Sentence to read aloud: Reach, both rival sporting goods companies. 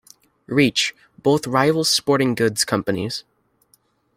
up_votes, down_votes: 2, 0